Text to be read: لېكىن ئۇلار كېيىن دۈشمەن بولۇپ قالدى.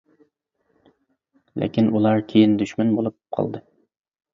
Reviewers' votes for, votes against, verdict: 2, 0, accepted